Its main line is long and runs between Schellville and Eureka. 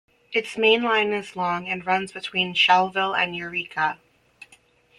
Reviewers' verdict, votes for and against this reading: accepted, 2, 0